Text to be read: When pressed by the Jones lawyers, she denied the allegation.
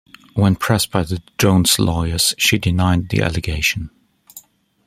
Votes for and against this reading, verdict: 2, 0, accepted